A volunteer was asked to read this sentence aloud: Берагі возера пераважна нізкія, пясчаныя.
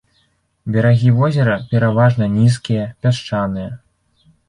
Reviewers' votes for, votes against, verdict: 3, 0, accepted